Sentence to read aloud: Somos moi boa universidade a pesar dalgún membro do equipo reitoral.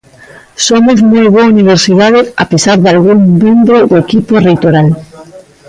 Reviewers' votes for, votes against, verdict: 1, 2, rejected